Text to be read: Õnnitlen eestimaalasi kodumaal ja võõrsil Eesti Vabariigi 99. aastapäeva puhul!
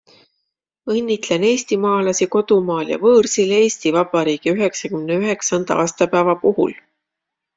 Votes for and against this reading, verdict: 0, 2, rejected